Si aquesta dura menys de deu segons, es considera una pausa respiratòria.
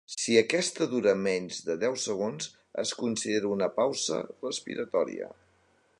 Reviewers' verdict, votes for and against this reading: rejected, 2, 3